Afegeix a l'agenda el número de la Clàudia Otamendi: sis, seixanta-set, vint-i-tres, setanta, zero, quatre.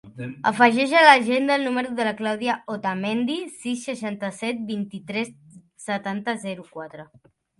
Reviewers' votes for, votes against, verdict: 3, 1, accepted